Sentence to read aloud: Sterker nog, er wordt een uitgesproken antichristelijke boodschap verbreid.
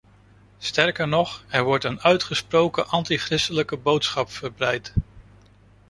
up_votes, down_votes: 2, 0